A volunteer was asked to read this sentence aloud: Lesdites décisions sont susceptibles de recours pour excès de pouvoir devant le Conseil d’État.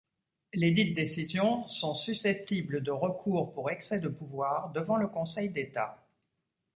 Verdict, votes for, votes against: accepted, 2, 0